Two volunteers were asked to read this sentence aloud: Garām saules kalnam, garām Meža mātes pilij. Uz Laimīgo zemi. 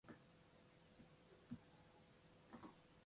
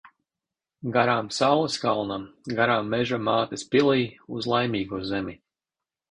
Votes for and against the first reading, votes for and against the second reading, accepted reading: 0, 2, 2, 0, second